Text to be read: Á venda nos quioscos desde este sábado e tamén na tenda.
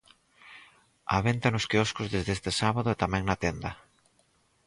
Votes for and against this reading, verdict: 2, 2, rejected